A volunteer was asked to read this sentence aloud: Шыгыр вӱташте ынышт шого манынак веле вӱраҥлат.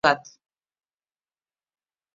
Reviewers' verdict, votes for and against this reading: rejected, 1, 2